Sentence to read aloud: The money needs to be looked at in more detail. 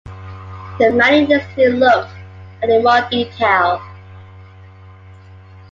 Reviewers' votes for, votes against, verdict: 2, 1, accepted